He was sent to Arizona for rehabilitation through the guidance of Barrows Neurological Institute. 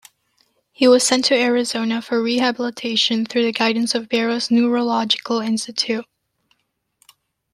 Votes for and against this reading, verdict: 2, 0, accepted